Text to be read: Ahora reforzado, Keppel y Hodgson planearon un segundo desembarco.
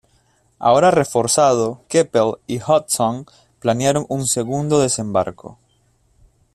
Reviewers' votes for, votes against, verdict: 2, 0, accepted